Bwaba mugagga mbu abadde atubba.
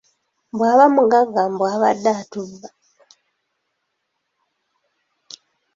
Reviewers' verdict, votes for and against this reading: accepted, 2, 0